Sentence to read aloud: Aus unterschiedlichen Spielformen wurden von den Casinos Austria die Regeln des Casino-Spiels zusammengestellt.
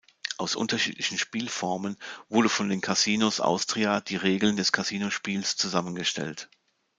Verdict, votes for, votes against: rejected, 1, 2